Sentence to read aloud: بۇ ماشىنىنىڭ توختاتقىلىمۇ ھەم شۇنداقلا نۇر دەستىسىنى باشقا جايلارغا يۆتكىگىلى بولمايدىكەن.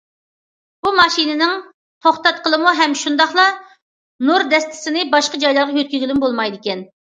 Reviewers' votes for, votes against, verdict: 0, 2, rejected